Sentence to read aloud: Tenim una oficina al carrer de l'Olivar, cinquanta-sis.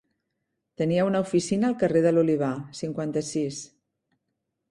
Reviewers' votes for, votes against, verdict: 1, 3, rejected